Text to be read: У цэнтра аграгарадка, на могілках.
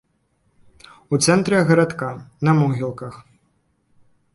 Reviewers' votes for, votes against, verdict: 0, 2, rejected